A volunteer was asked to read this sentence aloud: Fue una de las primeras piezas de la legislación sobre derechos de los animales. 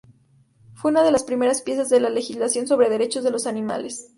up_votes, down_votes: 2, 0